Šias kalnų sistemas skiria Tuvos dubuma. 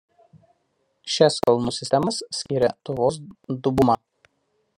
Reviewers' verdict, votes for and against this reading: rejected, 1, 2